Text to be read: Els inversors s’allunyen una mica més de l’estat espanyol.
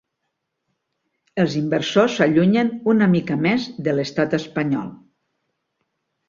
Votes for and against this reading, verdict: 3, 0, accepted